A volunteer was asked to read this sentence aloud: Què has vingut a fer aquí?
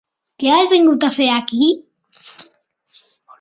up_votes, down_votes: 3, 1